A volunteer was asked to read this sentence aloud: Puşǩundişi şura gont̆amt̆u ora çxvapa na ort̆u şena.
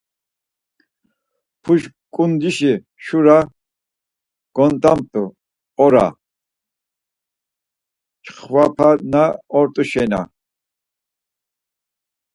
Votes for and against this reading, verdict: 4, 0, accepted